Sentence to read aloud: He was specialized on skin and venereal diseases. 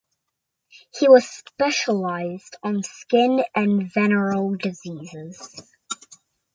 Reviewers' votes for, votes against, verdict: 2, 0, accepted